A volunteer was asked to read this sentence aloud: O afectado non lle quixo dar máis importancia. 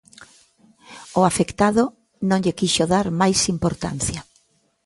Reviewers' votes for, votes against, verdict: 2, 0, accepted